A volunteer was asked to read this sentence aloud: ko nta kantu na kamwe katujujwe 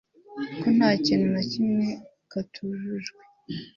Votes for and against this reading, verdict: 1, 2, rejected